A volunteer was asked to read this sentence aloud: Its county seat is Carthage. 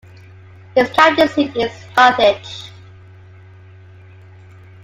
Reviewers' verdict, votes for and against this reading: rejected, 0, 2